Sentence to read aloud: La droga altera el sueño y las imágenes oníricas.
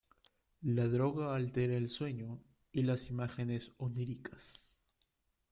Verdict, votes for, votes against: accepted, 2, 0